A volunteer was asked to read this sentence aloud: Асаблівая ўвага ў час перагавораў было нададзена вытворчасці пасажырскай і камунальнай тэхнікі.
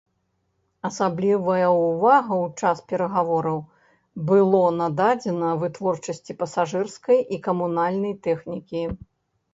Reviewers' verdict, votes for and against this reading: accepted, 2, 0